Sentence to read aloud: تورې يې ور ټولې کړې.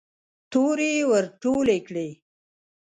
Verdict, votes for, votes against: rejected, 1, 2